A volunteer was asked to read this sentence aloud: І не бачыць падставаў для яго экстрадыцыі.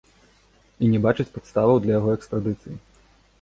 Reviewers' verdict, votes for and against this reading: accepted, 2, 0